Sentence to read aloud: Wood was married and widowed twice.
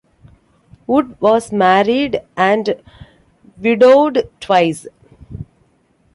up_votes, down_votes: 2, 0